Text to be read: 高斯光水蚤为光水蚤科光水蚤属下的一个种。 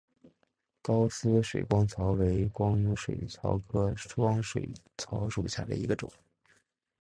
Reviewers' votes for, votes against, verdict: 1, 2, rejected